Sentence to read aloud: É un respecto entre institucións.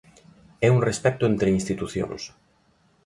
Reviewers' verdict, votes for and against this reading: accepted, 2, 0